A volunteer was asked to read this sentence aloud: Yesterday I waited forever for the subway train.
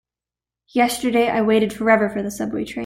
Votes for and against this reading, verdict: 1, 2, rejected